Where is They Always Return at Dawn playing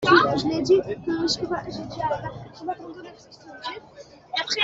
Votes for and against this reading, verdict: 0, 2, rejected